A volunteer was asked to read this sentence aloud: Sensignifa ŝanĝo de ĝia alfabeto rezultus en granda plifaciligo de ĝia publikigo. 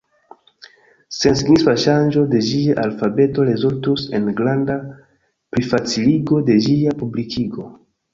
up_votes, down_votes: 0, 2